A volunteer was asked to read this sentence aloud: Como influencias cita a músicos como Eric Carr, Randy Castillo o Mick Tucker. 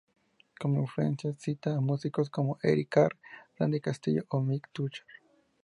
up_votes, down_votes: 2, 4